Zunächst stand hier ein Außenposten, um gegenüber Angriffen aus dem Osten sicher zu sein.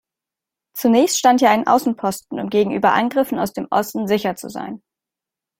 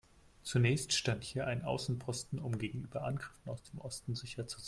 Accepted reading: first